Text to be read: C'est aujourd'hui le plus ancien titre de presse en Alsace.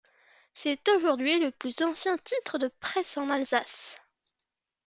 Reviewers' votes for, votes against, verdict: 2, 0, accepted